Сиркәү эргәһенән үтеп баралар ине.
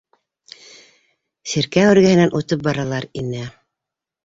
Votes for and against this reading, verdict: 1, 2, rejected